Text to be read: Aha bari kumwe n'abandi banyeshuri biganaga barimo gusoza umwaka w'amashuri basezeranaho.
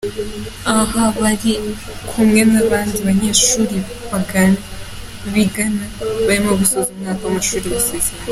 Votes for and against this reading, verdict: 1, 2, rejected